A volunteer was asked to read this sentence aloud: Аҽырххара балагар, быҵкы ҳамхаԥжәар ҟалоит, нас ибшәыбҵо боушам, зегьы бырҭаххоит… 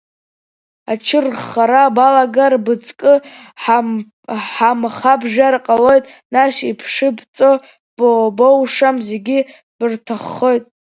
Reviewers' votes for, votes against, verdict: 0, 2, rejected